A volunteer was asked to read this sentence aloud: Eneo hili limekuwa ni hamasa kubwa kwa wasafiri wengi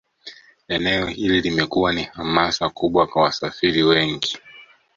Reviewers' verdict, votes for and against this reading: accepted, 2, 0